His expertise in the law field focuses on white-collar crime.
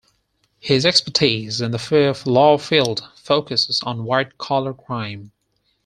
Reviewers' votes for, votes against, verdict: 0, 4, rejected